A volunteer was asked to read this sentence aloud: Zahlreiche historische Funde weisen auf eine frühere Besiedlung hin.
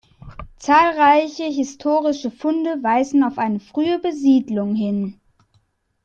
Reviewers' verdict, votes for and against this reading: accepted, 2, 1